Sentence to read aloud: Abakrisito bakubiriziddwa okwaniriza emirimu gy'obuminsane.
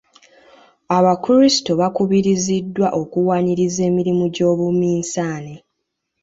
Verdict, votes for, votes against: rejected, 1, 3